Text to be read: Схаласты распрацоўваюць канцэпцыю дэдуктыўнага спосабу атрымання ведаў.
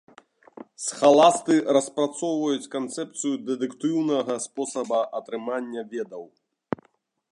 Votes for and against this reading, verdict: 0, 2, rejected